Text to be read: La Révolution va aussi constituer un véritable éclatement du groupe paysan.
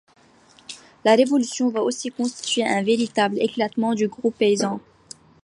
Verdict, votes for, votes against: accepted, 2, 1